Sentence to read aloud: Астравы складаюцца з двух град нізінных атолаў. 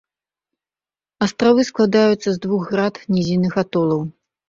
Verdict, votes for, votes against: accepted, 4, 0